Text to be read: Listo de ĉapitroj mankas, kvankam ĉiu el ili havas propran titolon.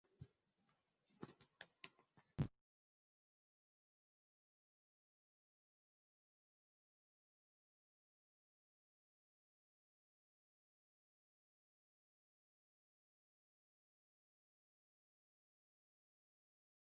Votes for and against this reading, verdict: 0, 2, rejected